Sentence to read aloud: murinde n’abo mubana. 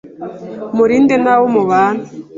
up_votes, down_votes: 2, 0